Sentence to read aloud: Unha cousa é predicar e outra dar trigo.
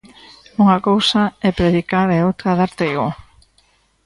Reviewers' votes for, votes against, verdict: 2, 0, accepted